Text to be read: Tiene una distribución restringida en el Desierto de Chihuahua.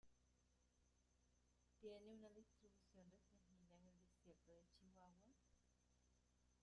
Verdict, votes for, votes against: rejected, 0, 2